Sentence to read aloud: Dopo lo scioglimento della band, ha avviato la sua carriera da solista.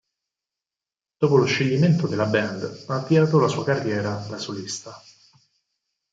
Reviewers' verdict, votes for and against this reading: rejected, 0, 4